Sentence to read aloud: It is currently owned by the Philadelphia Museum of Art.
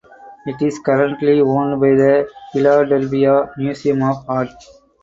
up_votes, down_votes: 2, 2